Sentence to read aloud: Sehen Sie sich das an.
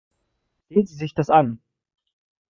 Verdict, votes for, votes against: rejected, 1, 2